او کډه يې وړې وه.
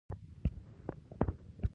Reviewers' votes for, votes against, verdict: 1, 2, rejected